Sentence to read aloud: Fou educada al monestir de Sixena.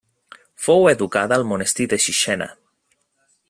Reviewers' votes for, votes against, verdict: 2, 0, accepted